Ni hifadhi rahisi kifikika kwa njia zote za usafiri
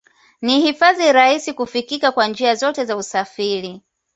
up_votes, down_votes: 2, 0